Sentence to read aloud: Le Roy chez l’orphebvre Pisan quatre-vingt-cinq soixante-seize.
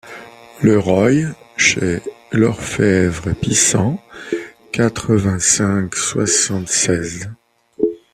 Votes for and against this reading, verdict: 2, 1, accepted